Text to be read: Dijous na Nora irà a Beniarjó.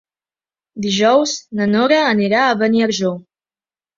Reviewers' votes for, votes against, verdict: 1, 2, rejected